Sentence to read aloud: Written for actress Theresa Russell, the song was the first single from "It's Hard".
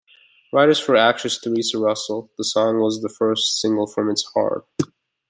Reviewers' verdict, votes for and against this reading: rejected, 1, 2